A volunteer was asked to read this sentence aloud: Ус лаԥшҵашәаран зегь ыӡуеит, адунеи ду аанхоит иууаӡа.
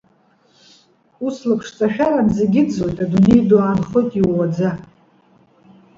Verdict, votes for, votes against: accepted, 2, 0